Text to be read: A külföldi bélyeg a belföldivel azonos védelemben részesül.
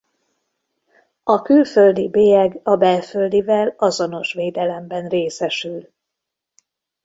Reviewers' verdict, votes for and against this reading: accepted, 2, 0